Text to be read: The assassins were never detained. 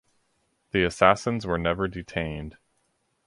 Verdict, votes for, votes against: accepted, 4, 0